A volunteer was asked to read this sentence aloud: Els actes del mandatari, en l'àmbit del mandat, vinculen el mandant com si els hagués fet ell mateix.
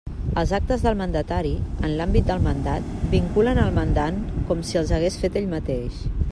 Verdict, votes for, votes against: accepted, 2, 0